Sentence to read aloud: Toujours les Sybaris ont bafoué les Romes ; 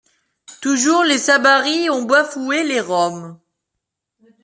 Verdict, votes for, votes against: rejected, 1, 2